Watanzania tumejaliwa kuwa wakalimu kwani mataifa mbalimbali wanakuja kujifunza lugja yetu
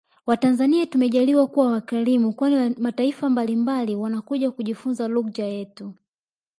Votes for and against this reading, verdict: 1, 2, rejected